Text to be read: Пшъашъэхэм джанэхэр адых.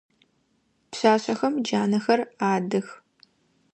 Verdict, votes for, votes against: accepted, 2, 0